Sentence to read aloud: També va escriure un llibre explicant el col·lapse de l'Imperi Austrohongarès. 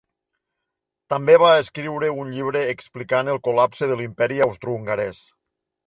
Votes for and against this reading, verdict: 2, 0, accepted